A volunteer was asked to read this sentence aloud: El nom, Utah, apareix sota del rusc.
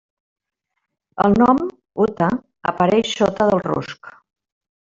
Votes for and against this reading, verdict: 0, 2, rejected